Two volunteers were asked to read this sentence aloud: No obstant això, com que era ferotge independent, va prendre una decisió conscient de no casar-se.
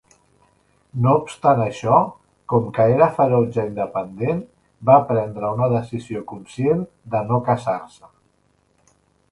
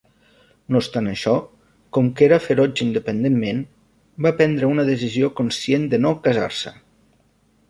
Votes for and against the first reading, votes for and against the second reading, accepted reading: 2, 0, 0, 2, first